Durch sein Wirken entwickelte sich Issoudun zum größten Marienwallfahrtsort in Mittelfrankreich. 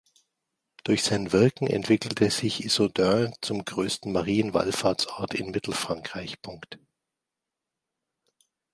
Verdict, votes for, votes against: rejected, 0, 2